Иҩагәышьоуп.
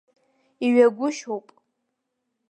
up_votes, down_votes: 3, 0